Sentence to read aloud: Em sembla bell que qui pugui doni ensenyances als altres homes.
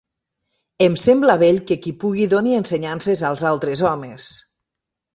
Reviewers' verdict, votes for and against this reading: accepted, 2, 0